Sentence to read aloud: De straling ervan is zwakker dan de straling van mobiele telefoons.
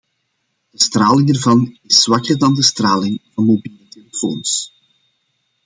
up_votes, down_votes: 2, 0